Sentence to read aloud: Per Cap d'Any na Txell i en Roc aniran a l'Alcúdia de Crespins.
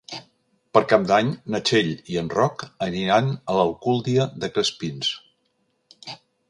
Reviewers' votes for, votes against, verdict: 1, 3, rejected